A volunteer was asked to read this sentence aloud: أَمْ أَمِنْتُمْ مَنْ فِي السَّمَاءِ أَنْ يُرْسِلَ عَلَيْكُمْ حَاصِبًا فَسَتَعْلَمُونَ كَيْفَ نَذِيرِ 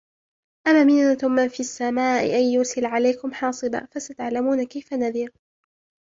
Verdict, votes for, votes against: accepted, 3, 1